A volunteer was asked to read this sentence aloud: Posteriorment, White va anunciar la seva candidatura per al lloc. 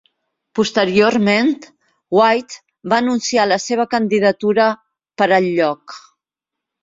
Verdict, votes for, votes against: accepted, 3, 0